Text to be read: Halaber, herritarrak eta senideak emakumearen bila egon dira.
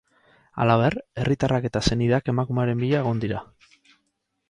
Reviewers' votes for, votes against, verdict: 4, 0, accepted